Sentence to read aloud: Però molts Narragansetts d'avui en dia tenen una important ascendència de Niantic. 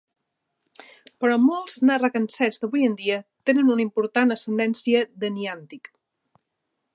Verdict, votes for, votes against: rejected, 1, 2